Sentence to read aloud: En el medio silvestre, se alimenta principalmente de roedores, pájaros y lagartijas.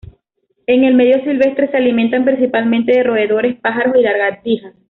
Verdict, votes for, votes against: accepted, 2, 1